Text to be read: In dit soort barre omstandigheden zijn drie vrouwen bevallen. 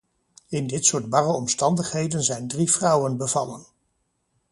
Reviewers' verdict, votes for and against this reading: accepted, 2, 0